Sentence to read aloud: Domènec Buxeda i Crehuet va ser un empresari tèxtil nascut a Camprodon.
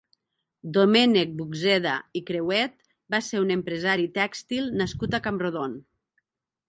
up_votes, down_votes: 0, 3